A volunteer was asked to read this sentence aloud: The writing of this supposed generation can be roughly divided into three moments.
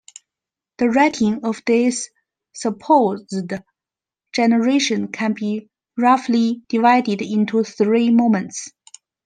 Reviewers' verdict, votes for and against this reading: accepted, 2, 0